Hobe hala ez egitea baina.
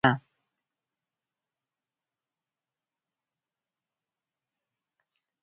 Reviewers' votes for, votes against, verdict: 0, 4, rejected